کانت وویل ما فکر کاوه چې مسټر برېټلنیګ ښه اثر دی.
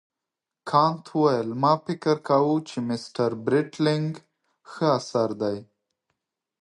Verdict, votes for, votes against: accepted, 2, 0